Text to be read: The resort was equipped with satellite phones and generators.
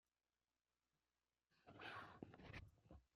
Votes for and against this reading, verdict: 0, 2, rejected